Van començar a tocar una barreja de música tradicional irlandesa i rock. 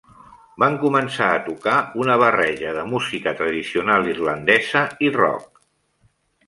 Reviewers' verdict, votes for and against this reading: rejected, 1, 2